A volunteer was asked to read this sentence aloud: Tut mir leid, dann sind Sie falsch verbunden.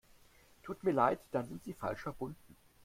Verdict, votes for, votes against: accepted, 2, 0